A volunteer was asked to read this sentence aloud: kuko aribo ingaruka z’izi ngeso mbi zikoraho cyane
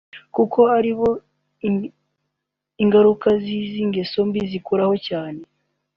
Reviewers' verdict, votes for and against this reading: rejected, 0, 3